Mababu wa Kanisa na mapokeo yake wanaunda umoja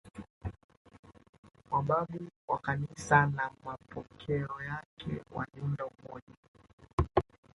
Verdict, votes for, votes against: rejected, 1, 2